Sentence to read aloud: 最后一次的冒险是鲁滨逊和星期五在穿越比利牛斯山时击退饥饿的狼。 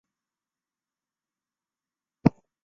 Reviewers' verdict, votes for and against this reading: rejected, 0, 3